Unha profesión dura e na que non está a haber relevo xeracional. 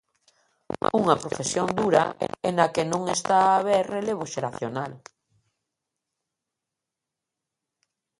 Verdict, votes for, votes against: rejected, 1, 2